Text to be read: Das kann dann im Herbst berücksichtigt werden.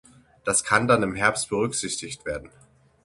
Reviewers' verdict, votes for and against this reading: accepted, 6, 0